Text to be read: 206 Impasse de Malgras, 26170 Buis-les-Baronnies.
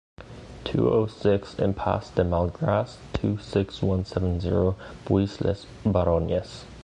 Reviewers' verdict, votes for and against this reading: rejected, 0, 2